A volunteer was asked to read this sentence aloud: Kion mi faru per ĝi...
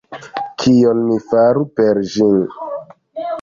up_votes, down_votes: 1, 2